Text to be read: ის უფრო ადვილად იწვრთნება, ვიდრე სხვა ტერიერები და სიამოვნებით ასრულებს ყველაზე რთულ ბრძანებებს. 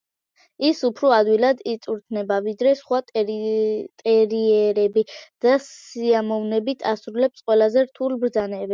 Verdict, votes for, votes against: rejected, 0, 2